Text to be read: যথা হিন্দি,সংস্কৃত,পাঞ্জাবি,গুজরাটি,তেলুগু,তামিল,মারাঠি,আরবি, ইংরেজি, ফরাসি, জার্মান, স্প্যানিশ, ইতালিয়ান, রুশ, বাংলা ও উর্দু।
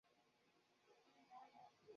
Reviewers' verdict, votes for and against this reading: rejected, 0, 2